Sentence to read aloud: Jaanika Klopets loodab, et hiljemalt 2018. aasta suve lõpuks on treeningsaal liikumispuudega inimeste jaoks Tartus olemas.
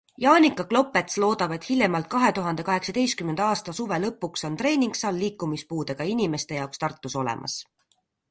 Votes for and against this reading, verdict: 0, 2, rejected